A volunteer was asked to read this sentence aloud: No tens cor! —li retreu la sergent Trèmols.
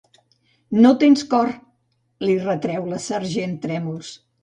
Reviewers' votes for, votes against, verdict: 2, 0, accepted